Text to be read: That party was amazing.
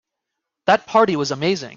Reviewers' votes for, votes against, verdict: 4, 0, accepted